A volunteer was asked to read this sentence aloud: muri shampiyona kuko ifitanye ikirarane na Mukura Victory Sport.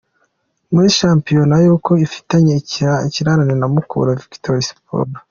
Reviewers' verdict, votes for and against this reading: rejected, 0, 2